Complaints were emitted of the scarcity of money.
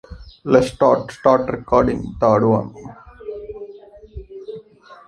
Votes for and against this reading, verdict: 0, 2, rejected